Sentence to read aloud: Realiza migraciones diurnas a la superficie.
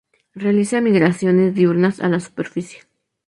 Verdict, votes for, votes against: accepted, 2, 0